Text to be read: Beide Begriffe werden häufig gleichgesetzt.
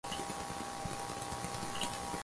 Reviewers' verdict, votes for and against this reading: rejected, 0, 4